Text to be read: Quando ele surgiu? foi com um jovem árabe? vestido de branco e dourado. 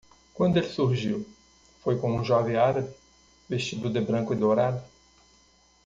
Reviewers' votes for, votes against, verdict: 1, 2, rejected